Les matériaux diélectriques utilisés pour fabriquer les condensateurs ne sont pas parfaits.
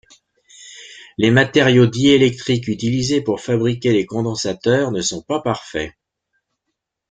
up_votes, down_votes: 2, 0